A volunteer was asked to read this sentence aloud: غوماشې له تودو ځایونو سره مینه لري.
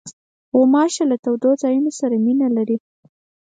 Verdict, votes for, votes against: accepted, 4, 0